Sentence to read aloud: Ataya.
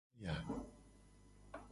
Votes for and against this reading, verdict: 1, 2, rejected